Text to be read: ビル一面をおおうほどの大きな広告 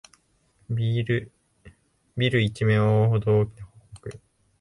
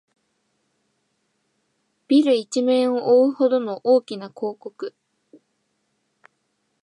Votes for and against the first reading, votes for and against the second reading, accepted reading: 1, 2, 2, 0, second